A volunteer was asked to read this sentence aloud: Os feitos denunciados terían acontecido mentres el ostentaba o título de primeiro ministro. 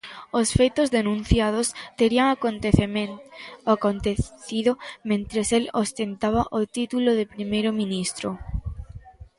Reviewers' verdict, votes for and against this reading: rejected, 0, 2